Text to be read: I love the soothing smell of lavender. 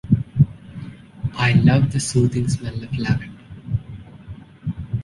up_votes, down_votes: 1, 2